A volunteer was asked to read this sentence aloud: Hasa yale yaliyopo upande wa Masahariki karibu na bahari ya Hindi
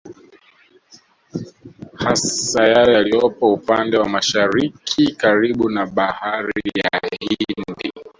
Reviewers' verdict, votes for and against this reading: accepted, 2, 1